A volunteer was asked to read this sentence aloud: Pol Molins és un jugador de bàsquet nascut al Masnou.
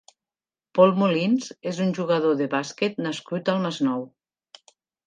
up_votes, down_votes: 3, 0